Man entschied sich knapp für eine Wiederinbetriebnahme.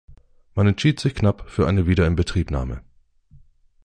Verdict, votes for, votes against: accepted, 2, 0